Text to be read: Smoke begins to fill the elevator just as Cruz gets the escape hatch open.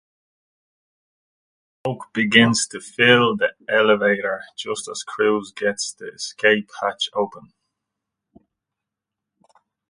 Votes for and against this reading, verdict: 0, 2, rejected